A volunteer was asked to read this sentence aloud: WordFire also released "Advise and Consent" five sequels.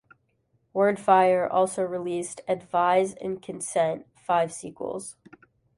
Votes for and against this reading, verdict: 2, 0, accepted